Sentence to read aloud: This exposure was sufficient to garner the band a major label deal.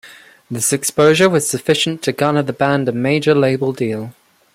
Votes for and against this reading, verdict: 2, 0, accepted